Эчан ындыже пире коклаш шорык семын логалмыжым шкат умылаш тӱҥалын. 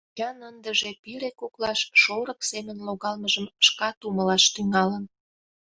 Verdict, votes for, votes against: rejected, 0, 2